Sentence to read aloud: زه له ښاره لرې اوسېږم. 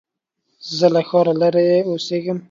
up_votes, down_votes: 2, 0